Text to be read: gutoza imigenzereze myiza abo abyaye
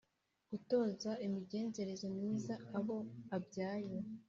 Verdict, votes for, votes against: accepted, 2, 0